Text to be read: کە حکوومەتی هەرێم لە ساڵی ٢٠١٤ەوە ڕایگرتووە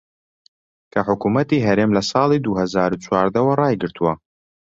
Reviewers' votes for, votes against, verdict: 0, 2, rejected